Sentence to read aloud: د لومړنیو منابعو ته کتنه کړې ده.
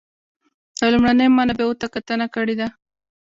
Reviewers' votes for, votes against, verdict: 2, 1, accepted